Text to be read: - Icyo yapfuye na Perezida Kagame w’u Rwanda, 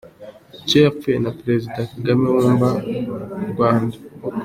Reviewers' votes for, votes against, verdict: 1, 2, rejected